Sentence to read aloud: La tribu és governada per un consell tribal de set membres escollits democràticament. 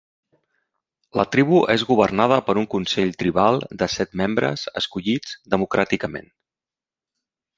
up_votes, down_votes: 3, 0